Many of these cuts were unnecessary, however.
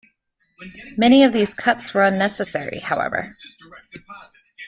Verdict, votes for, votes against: rejected, 0, 2